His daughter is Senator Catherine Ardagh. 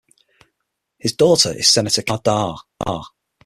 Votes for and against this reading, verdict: 0, 6, rejected